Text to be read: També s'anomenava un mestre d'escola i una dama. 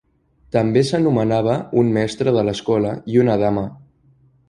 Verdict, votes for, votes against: rejected, 0, 2